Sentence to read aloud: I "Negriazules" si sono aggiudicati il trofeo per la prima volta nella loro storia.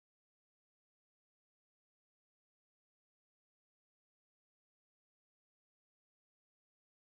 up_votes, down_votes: 0, 3